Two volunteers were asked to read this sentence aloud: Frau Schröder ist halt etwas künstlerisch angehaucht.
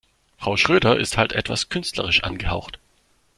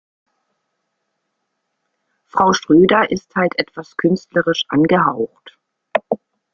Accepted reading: first